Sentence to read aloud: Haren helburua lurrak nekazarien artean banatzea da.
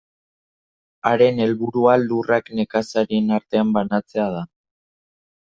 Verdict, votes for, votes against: accepted, 2, 0